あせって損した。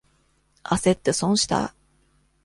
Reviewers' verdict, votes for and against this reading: accepted, 2, 0